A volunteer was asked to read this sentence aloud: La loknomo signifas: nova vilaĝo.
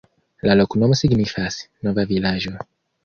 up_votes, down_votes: 2, 1